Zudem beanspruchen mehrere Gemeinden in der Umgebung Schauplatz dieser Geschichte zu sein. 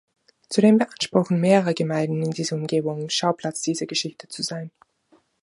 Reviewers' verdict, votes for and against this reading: rejected, 0, 2